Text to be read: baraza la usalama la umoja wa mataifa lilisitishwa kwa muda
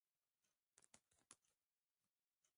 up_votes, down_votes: 0, 19